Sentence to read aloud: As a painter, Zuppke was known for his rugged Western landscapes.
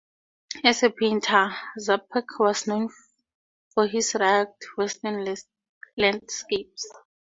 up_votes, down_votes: 2, 4